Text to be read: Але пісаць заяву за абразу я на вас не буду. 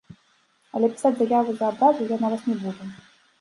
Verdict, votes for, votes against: rejected, 0, 2